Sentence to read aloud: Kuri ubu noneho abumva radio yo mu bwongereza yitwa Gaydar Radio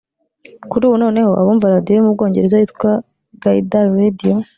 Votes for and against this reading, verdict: 1, 2, rejected